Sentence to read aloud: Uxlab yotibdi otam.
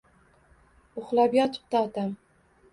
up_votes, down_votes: 2, 0